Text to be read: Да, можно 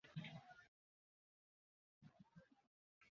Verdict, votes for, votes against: rejected, 0, 2